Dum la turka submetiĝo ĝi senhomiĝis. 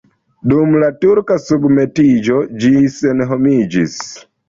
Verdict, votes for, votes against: accepted, 2, 0